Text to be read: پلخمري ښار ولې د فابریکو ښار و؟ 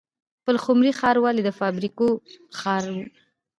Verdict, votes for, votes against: rejected, 1, 2